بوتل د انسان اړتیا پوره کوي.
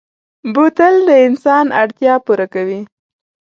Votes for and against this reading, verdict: 2, 0, accepted